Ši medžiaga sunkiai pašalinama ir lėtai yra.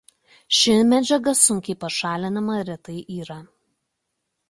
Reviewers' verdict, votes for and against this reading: rejected, 0, 2